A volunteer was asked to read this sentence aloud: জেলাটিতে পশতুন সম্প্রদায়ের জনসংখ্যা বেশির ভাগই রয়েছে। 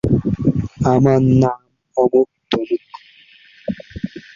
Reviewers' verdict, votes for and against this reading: rejected, 0, 3